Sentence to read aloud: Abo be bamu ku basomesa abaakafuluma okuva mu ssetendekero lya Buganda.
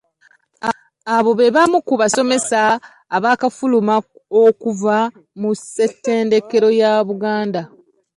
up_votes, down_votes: 0, 2